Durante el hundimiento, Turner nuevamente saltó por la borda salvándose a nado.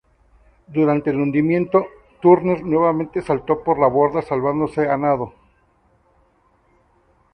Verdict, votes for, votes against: accepted, 2, 0